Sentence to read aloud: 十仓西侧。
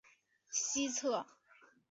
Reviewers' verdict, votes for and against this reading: rejected, 0, 5